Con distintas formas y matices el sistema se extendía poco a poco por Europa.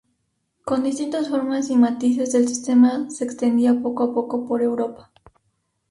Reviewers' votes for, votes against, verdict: 2, 0, accepted